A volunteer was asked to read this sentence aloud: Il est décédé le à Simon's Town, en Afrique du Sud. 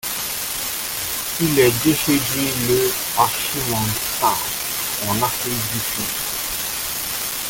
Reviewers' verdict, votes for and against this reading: rejected, 0, 3